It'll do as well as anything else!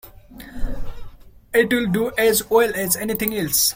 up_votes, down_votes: 2, 1